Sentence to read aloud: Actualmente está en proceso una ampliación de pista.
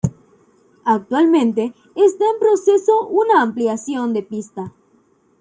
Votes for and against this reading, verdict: 2, 0, accepted